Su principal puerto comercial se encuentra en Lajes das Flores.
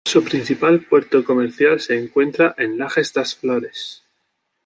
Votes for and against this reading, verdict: 2, 0, accepted